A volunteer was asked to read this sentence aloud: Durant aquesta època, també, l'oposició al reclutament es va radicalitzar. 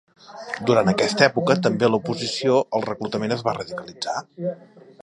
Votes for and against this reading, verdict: 1, 3, rejected